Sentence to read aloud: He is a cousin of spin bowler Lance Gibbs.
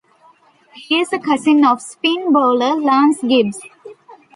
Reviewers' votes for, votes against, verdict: 2, 0, accepted